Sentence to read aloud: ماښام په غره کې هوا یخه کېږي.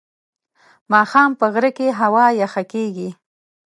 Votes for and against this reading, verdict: 2, 0, accepted